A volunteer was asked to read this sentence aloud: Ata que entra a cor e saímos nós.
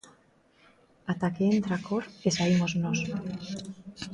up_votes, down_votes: 2, 0